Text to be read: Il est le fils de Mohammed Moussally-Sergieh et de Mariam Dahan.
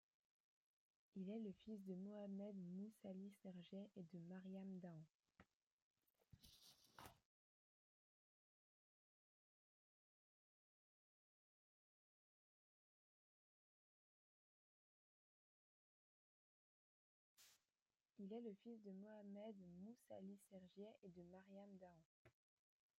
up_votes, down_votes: 0, 2